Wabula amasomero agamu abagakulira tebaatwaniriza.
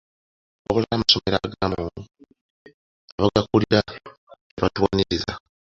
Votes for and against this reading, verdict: 1, 2, rejected